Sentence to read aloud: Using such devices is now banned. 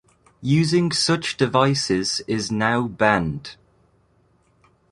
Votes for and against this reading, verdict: 2, 0, accepted